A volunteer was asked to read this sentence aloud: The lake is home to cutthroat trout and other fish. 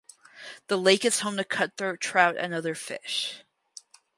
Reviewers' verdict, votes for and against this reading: rejected, 2, 2